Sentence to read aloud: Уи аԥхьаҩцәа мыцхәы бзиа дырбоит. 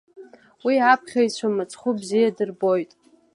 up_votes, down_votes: 2, 1